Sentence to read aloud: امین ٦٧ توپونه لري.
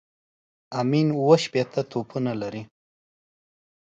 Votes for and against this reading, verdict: 0, 2, rejected